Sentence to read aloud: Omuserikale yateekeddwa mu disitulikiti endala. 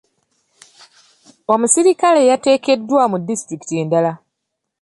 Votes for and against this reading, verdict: 2, 0, accepted